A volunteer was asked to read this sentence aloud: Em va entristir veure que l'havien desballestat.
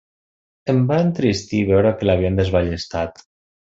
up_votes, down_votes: 2, 0